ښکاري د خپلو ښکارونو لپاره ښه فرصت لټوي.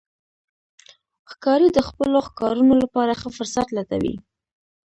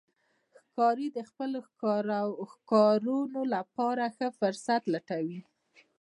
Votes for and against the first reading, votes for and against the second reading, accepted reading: 0, 2, 2, 0, second